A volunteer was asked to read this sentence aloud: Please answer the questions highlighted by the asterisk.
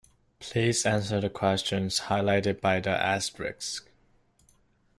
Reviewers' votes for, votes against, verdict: 2, 0, accepted